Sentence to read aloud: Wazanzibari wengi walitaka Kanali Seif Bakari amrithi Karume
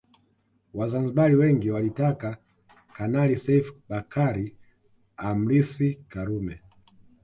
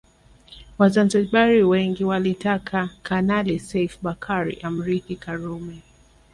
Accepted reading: second